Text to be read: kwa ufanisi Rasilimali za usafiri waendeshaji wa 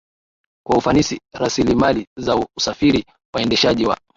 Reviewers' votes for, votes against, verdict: 2, 0, accepted